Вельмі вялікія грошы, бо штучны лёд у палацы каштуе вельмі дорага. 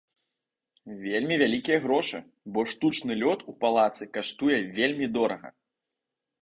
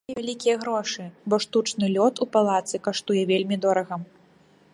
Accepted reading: first